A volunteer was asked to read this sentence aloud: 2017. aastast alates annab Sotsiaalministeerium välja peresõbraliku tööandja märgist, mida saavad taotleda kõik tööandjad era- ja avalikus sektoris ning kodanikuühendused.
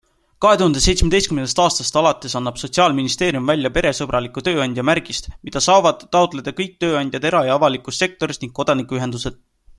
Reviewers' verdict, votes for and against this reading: rejected, 0, 2